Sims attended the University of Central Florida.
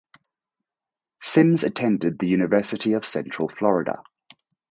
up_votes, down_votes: 4, 0